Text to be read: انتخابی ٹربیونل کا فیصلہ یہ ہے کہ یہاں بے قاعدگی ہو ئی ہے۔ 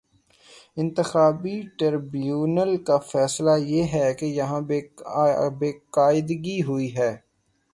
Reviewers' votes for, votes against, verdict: 0, 3, rejected